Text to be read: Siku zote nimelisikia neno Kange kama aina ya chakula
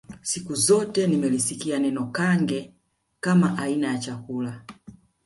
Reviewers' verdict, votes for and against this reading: accepted, 2, 0